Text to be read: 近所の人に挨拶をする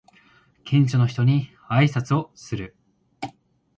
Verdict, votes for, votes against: rejected, 1, 2